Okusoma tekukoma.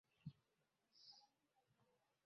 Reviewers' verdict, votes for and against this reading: rejected, 0, 2